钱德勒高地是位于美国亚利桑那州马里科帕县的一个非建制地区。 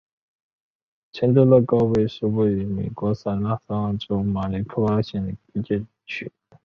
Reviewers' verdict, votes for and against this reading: rejected, 0, 4